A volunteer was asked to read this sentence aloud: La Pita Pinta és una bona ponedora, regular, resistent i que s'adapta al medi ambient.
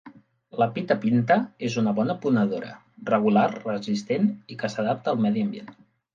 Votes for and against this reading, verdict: 3, 0, accepted